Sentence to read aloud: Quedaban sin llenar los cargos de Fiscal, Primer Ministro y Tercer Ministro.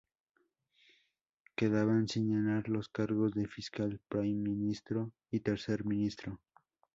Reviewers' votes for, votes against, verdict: 0, 2, rejected